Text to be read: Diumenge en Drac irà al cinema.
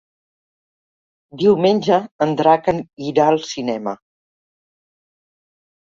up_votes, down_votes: 1, 3